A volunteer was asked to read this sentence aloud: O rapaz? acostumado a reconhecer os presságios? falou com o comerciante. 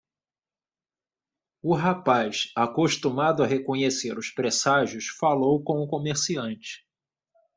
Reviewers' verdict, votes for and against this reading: rejected, 1, 2